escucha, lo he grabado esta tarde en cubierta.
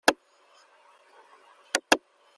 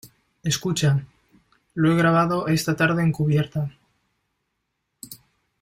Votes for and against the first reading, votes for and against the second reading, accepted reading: 0, 2, 2, 0, second